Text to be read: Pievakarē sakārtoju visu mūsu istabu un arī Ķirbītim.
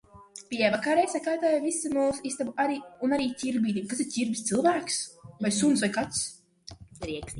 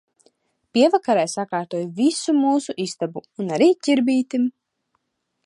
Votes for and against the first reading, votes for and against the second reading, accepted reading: 0, 2, 2, 0, second